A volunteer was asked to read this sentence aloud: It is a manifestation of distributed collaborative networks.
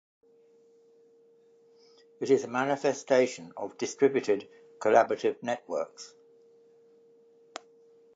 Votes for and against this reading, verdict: 2, 0, accepted